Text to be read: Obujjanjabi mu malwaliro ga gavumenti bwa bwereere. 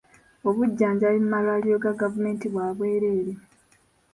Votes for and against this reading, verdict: 0, 2, rejected